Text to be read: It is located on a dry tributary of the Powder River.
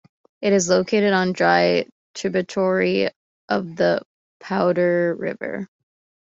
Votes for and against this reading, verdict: 2, 0, accepted